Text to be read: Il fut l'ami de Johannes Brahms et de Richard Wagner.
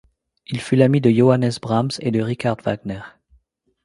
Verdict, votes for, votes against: accepted, 2, 1